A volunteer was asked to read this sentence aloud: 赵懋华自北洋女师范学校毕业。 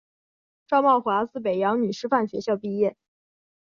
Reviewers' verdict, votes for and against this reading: accepted, 2, 0